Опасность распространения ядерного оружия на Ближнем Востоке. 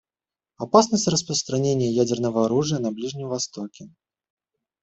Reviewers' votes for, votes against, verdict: 1, 2, rejected